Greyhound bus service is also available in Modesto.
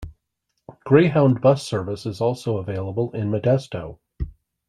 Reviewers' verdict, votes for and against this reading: accepted, 2, 0